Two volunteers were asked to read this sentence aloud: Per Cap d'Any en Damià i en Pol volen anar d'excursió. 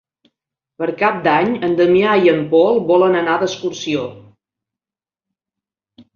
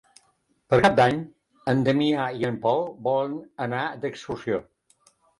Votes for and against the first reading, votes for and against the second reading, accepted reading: 3, 0, 0, 2, first